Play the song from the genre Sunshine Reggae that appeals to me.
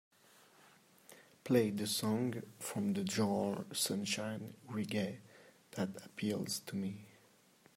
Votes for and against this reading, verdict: 3, 1, accepted